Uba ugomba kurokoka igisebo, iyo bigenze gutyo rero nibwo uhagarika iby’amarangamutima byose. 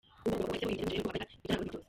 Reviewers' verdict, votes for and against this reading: rejected, 0, 2